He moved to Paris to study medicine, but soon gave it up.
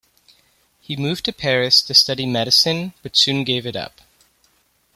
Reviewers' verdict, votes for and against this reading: accepted, 2, 0